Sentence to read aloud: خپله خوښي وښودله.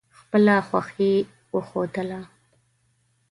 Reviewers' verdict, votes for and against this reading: accepted, 2, 0